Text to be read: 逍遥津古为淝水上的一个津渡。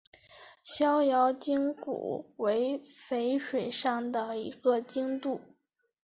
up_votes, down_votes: 2, 0